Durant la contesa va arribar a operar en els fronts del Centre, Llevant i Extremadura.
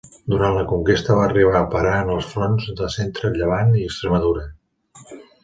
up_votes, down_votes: 0, 2